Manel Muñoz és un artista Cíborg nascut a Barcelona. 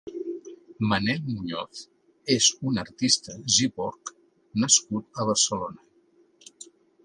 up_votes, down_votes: 2, 3